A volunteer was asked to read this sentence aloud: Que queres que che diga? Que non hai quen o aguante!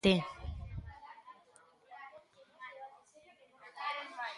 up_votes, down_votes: 0, 2